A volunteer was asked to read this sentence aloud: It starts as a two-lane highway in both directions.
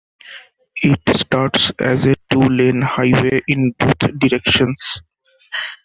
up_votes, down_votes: 2, 1